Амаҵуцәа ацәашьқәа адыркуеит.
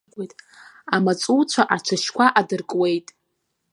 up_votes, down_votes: 0, 2